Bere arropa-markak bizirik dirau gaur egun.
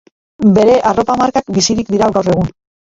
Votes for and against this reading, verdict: 0, 2, rejected